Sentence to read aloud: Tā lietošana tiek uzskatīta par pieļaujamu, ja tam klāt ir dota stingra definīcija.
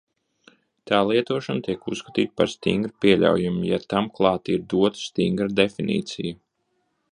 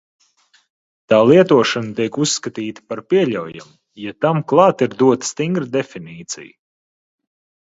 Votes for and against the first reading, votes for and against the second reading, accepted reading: 0, 2, 2, 0, second